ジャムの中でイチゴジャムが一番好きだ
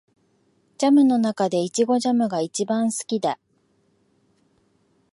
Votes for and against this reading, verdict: 2, 0, accepted